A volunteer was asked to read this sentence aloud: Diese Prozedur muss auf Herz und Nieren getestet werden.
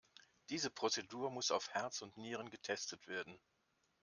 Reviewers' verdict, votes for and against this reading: accepted, 2, 0